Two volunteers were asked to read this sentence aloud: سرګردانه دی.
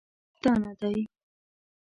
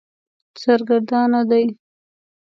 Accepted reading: second